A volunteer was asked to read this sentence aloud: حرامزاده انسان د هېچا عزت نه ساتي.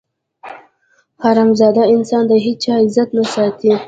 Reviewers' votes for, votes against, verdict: 2, 0, accepted